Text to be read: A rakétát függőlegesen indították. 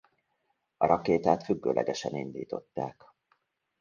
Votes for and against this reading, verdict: 2, 0, accepted